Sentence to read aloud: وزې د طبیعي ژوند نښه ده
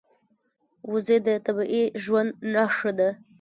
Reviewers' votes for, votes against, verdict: 1, 2, rejected